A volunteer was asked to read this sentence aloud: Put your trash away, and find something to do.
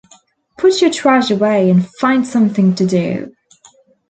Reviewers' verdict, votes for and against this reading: accepted, 2, 0